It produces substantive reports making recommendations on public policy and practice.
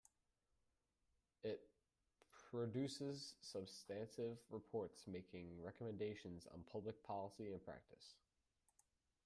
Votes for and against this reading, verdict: 0, 2, rejected